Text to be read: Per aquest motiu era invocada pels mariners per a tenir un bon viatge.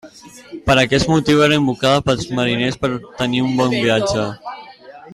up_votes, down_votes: 0, 2